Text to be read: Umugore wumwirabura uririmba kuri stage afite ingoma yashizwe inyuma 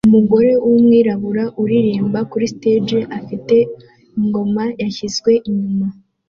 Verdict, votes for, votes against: accepted, 2, 0